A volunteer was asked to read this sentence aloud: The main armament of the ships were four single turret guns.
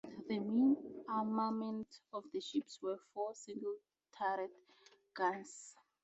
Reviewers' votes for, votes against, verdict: 2, 2, rejected